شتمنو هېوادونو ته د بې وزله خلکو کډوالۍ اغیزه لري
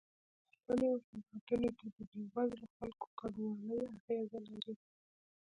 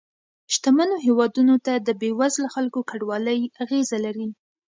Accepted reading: second